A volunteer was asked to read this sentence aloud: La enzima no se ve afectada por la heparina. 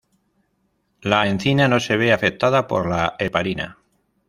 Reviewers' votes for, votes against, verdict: 0, 2, rejected